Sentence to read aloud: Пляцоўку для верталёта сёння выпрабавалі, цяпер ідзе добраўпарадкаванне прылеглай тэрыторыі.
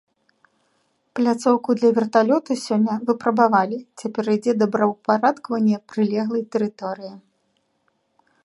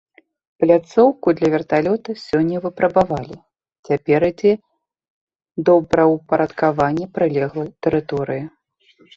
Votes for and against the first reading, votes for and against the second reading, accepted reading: 2, 1, 0, 2, first